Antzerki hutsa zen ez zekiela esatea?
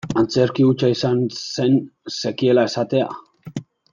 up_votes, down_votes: 0, 2